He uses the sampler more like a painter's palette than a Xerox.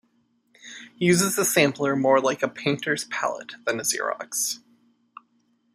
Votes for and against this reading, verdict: 2, 0, accepted